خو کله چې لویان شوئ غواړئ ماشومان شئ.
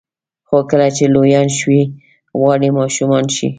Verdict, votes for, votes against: rejected, 2, 3